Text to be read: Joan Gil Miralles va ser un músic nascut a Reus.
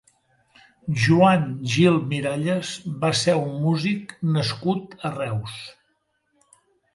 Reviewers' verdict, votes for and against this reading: accepted, 2, 0